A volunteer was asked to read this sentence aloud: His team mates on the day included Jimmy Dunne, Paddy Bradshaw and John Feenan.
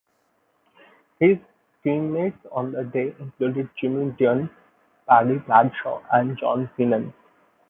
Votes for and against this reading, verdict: 0, 2, rejected